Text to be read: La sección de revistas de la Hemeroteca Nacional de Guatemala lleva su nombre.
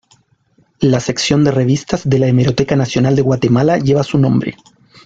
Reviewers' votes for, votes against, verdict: 2, 0, accepted